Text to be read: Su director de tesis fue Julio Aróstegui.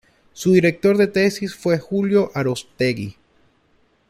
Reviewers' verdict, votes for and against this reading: accepted, 2, 0